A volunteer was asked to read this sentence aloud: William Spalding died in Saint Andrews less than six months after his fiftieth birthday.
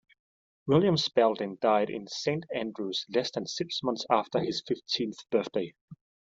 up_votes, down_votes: 1, 3